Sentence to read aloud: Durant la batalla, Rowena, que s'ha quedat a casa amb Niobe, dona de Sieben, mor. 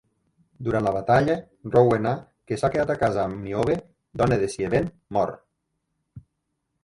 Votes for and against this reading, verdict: 1, 2, rejected